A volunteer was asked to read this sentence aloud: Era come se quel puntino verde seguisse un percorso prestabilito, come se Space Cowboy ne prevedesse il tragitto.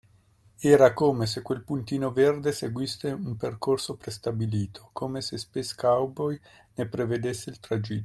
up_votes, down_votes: 2, 0